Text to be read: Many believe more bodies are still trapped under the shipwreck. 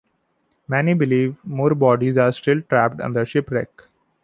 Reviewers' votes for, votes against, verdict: 1, 2, rejected